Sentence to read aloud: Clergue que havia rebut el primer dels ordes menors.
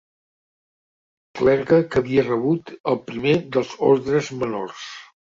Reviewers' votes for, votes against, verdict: 2, 1, accepted